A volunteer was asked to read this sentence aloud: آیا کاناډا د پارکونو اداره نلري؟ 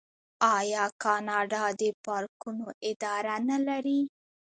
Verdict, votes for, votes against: accepted, 2, 0